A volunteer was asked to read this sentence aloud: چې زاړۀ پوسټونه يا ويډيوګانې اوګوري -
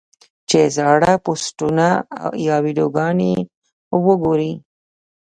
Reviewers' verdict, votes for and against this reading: rejected, 0, 2